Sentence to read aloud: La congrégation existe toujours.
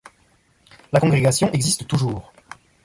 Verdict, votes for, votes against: accepted, 2, 0